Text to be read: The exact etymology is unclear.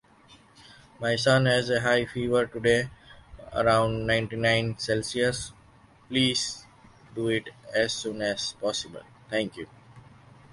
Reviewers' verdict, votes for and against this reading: rejected, 0, 2